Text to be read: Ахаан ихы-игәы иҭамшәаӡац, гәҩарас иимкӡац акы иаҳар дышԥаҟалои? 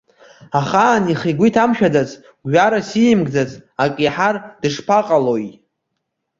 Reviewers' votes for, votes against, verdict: 2, 0, accepted